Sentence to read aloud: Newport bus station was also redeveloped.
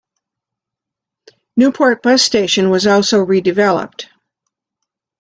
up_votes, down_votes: 3, 0